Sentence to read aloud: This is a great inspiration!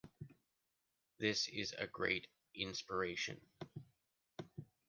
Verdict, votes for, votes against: accepted, 2, 1